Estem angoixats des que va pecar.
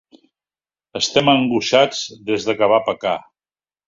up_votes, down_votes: 0, 2